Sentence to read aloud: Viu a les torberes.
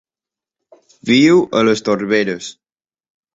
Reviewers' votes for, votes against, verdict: 2, 0, accepted